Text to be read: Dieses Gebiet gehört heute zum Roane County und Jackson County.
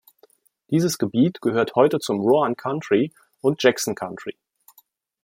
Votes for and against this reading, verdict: 0, 3, rejected